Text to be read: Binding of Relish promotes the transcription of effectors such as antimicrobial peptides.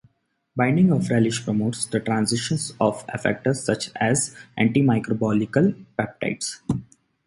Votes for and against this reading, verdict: 0, 2, rejected